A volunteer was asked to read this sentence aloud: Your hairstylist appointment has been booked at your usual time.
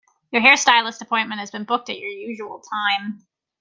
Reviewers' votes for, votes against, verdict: 1, 2, rejected